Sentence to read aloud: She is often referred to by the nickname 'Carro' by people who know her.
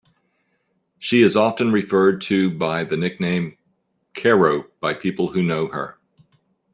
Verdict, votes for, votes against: accepted, 2, 0